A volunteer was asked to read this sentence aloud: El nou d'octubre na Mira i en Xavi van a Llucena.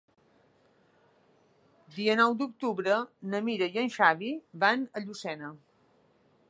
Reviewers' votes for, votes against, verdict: 0, 3, rejected